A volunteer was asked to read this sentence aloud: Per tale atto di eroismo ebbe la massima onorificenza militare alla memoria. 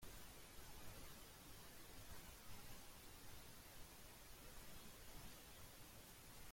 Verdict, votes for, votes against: rejected, 0, 3